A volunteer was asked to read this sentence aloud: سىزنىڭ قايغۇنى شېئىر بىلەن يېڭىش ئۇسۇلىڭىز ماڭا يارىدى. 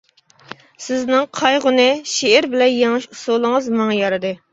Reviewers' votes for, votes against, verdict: 2, 0, accepted